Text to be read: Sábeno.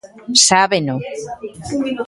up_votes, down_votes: 2, 0